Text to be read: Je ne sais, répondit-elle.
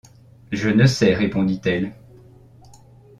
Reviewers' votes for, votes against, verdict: 2, 0, accepted